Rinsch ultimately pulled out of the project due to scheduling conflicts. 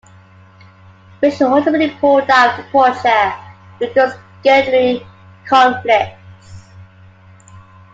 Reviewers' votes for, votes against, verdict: 2, 0, accepted